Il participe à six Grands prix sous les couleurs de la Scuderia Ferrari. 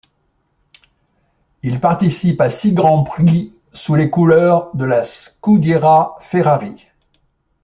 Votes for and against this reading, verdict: 1, 2, rejected